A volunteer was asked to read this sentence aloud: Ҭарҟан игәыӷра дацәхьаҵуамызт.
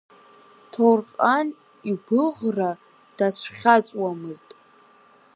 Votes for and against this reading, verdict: 2, 4, rejected